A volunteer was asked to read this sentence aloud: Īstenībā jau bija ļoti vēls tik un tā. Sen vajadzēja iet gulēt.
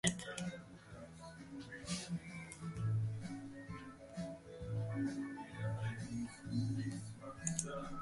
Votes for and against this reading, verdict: 0, 2, rejected